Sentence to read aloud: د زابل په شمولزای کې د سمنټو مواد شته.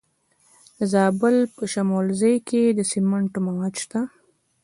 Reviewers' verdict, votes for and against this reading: accepted, 2, 1